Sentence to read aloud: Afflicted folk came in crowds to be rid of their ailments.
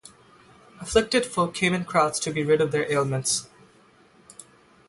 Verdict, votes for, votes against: rejected, 3, 3